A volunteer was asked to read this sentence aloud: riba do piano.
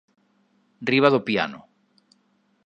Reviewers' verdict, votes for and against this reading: accepted, 2, 0